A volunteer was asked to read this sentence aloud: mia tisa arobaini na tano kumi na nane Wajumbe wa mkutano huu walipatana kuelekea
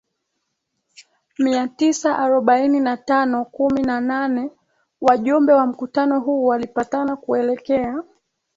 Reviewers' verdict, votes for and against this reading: accepted, 2, 0